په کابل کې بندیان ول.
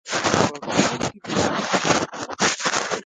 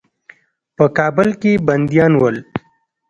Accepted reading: second